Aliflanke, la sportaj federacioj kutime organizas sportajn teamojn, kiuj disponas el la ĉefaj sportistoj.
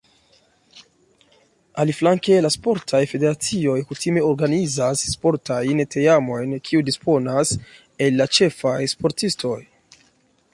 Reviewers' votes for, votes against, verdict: 2, 1, accepted